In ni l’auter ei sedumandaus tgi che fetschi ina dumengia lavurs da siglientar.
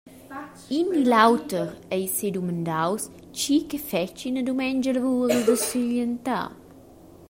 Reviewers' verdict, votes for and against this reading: rejected, 1, 2